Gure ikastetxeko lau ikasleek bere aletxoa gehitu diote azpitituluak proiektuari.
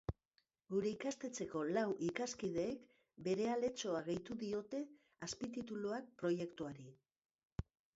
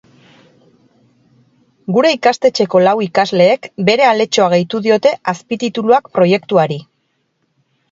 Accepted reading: second